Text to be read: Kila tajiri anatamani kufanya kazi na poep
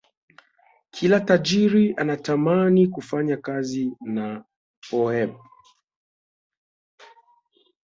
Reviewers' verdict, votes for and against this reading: accepted, 2, 0